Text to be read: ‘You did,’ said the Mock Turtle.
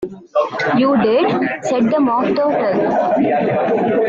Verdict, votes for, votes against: rejected, 0, 2